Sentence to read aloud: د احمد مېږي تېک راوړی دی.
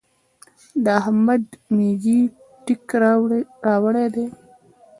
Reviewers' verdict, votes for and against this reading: rejected, 1, 2